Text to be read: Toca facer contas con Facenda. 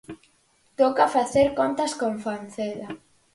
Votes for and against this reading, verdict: 0, 4, rejected